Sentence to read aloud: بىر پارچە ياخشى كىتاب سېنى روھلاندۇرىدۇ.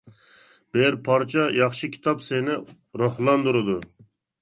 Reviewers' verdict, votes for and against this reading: accepted, 2, 0